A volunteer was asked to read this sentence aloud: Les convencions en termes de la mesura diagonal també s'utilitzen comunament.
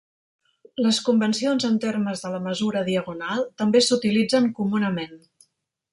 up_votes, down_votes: 4, 0